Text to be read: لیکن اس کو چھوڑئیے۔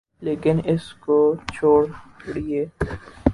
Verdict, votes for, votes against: rejected, 2, 6